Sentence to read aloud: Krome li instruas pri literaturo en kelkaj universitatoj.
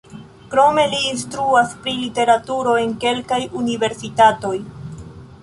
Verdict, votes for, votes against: rejected, 1, 2